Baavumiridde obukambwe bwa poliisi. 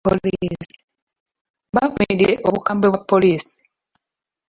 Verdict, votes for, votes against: rejected, 0, 2